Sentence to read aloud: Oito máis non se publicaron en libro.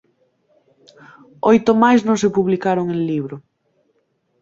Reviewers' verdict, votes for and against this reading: accepted, 2, 0